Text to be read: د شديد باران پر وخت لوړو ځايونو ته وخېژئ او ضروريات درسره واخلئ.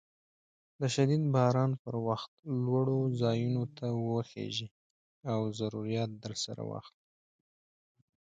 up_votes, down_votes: 1, 2